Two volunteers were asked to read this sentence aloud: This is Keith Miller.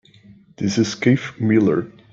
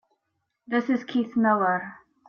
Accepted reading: second